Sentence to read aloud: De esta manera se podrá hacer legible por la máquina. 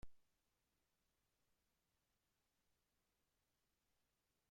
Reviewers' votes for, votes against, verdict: 1, 2, rejected